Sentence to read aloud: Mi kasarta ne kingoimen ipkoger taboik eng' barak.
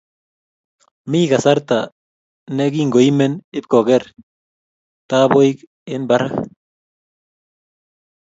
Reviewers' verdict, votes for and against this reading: rejected, 1, 2